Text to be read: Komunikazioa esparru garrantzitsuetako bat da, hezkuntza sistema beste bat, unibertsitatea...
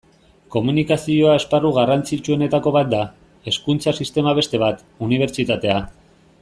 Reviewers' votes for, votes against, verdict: 1, 2, rejected